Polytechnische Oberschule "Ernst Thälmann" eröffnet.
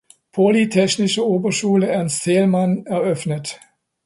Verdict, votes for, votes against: accepted, 2, 0